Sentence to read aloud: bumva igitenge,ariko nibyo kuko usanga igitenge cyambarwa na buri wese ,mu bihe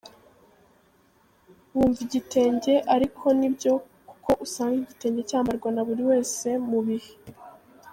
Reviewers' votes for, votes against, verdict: 1, 2, rejected